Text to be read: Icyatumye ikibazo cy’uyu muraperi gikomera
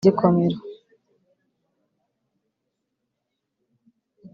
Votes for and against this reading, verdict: 1, 2, rejected